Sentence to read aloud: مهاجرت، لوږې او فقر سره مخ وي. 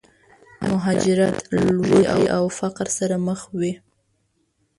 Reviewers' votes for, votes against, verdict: 0, 2, rejected